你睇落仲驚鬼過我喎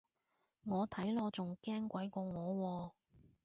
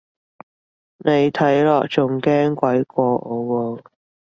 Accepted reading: second